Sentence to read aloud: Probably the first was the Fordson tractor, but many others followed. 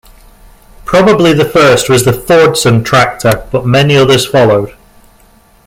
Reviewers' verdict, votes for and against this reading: accepted, 2, 1